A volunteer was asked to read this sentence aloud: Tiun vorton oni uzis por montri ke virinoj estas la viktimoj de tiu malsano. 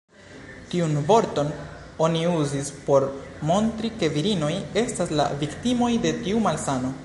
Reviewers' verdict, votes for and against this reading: accepted, 4, 1